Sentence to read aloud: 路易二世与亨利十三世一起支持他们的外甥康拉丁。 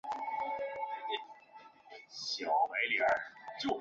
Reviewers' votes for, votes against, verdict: 0, 2, rejected